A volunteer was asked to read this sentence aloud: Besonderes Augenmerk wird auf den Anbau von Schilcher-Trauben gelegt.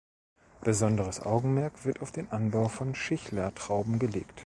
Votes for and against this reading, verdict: 1, 2, rejected